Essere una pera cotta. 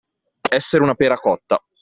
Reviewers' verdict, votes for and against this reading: accepted, 2, 0